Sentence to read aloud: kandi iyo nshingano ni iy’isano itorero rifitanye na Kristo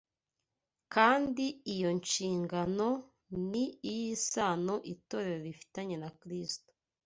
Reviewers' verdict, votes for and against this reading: accepted, 2, 0